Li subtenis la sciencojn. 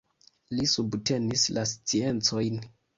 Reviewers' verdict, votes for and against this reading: accepted, 2, 0